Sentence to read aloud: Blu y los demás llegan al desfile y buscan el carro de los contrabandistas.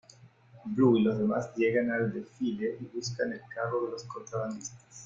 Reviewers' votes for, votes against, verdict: 0, 2, rejected